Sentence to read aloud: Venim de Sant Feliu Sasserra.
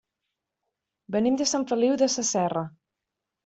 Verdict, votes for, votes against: rejected, 1, 2